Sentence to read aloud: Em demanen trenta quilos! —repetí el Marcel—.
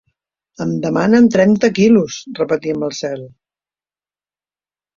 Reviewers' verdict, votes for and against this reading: accepted, 2, 0